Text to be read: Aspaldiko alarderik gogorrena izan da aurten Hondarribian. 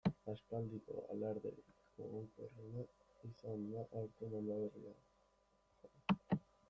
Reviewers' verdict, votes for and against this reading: rejected, 1, 2